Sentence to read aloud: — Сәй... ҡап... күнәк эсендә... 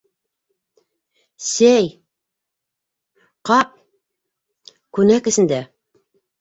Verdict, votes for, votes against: accepted, 3, 0